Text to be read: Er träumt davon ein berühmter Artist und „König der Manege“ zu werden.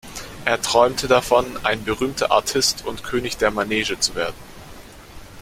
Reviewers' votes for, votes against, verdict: 1, 2, rejected